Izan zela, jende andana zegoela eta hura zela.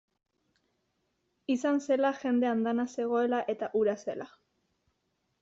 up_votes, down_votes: 2, 0